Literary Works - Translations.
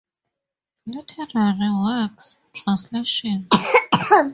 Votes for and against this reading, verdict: 2, 2, rejected